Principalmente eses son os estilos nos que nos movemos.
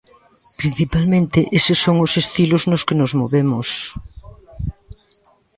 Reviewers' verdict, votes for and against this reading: accepted, 2, 0